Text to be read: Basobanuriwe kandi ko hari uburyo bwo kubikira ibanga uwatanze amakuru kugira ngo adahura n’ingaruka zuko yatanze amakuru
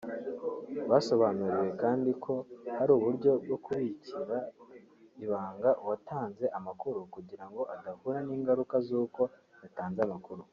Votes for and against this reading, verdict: 2, 1, accepted